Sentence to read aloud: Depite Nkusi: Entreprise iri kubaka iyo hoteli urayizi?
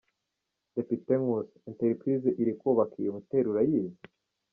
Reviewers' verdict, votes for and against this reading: rejected, 1, 2